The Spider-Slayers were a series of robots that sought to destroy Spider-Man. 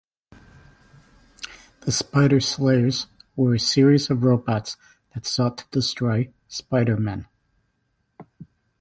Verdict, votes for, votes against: accepted, 2, 0